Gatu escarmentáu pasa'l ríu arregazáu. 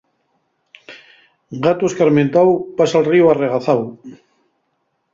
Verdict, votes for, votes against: rejected, 2, 2